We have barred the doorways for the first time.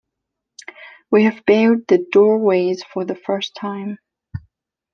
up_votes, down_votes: 2, 0